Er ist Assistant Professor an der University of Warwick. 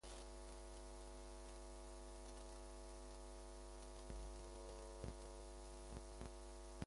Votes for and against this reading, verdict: 0, 2, rejected